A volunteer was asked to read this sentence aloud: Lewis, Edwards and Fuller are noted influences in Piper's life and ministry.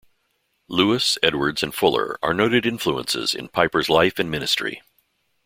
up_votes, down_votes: 2, 0